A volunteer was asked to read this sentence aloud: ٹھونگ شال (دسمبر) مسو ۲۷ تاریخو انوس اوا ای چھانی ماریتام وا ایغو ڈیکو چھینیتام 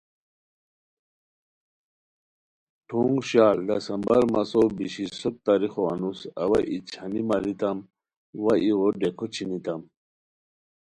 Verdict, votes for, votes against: rejected, 0, 2